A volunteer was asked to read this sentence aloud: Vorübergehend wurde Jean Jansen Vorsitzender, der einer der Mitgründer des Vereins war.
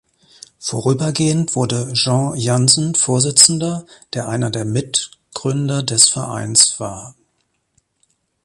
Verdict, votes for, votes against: accepted, 2, 0